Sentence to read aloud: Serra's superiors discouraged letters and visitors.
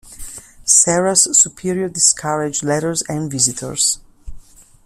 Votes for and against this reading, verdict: 0, 2, rejected